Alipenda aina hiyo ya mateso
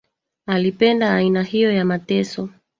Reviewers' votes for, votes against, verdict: 1, 2, rejected